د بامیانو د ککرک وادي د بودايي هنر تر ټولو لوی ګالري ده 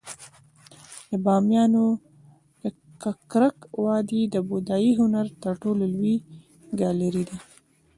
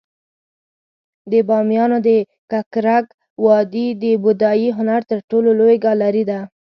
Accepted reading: second